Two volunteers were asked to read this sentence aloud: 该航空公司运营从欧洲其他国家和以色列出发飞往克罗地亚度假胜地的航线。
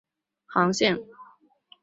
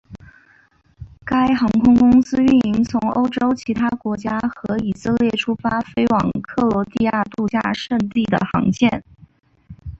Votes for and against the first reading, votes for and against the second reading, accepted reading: 0, 4, 5, 2, second